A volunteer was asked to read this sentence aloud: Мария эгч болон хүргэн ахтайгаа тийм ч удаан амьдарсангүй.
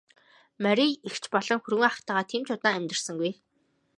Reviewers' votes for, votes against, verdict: 0, 2, rejected